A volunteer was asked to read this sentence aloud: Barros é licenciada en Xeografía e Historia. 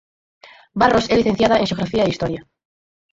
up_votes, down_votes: 2, 4